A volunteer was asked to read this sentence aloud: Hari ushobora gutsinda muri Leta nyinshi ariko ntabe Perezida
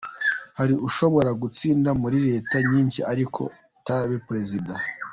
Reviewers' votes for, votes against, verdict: 2, 0, accepted